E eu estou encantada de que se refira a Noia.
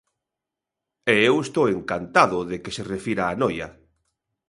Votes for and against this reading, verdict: 0, 2, rejected